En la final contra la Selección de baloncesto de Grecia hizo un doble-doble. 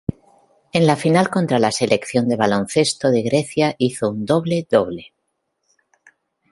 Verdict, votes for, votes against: rejected, 1, 2